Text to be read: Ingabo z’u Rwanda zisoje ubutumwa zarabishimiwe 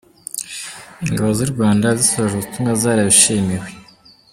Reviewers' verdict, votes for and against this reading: accepted, 2, 0